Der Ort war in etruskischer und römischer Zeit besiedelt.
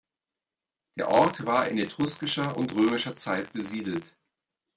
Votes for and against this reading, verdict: 2, 0, accepted